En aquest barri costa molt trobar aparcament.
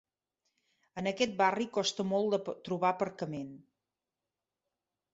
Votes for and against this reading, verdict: 0, 3, rejected